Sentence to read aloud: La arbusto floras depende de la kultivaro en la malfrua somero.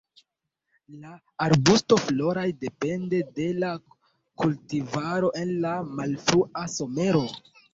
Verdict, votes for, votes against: rejected, 0, 2